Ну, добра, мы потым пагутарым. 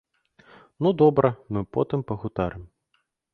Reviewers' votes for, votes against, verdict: 0, 2, rejected